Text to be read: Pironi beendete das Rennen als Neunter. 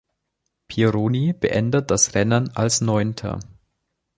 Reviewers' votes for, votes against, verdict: 0, 2, rejected